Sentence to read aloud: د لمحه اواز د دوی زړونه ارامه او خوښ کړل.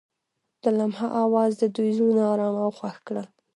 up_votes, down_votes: 0, 2